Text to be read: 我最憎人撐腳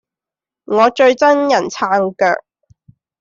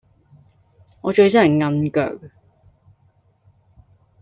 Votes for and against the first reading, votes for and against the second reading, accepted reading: 2, 0, 0, 2, first